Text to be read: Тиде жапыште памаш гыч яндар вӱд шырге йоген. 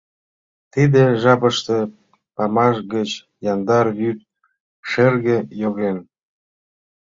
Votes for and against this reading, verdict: 2, 0, accepted